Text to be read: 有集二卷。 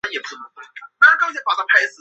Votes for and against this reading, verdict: 1, 4, rejected